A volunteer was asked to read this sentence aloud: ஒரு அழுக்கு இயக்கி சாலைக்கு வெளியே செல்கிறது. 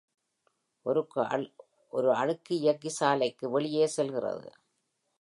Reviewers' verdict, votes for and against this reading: rejected, 1, 3